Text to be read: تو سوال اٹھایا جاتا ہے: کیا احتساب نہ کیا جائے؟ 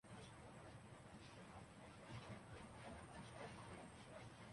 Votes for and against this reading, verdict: 1, 2, rejected